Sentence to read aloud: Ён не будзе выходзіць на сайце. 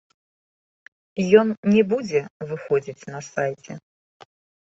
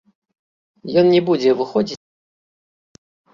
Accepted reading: first